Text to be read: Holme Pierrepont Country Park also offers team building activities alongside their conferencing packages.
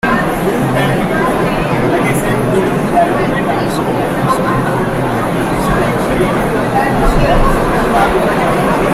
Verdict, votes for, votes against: rejected, 0, 2